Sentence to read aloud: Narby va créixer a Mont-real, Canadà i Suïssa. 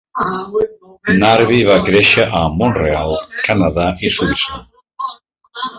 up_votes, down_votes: 1, 2